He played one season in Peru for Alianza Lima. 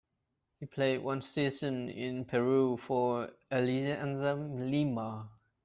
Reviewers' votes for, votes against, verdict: 0, 2, rejected